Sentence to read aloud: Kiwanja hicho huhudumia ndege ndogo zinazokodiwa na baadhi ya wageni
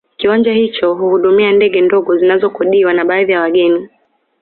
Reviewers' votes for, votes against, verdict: 2, 0, accepted